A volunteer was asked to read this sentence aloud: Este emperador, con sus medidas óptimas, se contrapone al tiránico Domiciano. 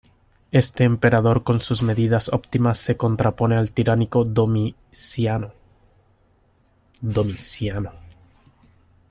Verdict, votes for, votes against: rejected, 0, 2